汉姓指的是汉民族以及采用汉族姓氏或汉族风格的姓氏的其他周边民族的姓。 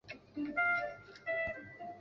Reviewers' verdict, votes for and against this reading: rejected, 0, 4